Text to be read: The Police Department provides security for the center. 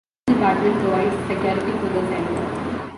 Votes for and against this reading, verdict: 0, 2, rejected